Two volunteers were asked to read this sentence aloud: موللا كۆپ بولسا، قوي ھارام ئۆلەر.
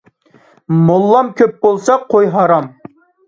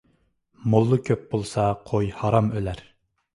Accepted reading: second